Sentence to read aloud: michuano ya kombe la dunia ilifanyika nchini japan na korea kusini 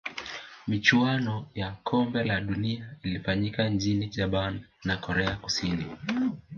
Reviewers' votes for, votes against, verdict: 2, 0, accepted